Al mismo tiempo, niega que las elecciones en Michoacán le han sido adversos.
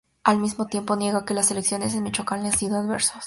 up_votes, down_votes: 2, 0